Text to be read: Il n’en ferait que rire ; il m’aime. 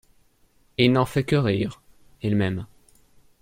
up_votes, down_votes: 0, 2